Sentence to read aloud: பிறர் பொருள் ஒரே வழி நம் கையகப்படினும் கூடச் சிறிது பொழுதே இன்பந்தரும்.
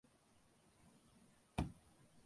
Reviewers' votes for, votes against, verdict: 0, 2, rejected